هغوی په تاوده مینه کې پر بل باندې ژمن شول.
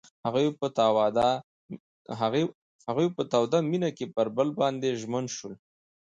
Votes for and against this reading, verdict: 0, 2, rejected